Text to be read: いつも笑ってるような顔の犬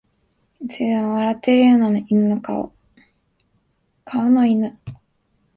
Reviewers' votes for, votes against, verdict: 1, 2, rejected